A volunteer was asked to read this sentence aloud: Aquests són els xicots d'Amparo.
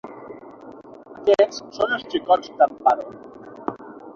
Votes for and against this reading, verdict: 3, 6, rejected